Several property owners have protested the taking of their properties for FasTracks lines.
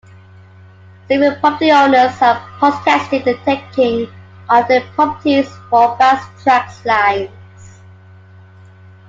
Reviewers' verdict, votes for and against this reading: rejected, 1, 2